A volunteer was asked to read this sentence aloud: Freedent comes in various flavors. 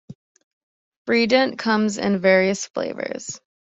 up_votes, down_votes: 2, 0